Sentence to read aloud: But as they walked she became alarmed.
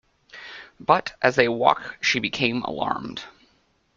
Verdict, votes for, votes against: accepted, 2, 1